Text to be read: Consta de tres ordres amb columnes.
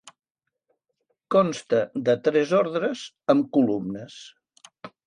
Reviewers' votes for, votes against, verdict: 3, 0, accepted